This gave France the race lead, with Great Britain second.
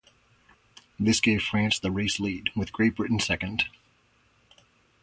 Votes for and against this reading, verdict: 2, 0, accepted